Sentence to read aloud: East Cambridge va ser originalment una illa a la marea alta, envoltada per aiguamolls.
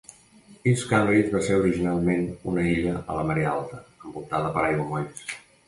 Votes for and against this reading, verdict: 2, 0, accepted